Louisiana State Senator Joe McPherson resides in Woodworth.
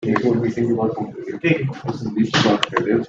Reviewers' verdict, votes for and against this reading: rejected, 0, 2